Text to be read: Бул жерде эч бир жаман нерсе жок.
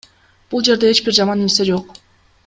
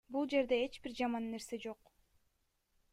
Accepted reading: first